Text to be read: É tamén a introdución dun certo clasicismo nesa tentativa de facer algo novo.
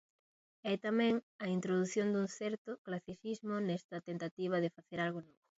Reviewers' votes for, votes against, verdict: 0, 2, rejected